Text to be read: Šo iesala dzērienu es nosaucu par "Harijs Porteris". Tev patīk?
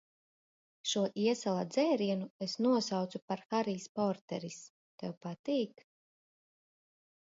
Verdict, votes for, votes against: accepted, 2, 0